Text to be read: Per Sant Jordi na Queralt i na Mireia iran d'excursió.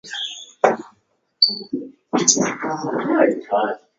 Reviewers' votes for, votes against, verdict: 0, 2, rejected